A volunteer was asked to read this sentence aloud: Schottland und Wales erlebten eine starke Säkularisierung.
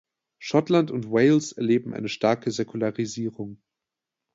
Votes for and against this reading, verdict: 0, 2, rejected